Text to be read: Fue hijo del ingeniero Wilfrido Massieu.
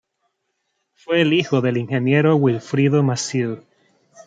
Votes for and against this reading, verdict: 1, 2, rejected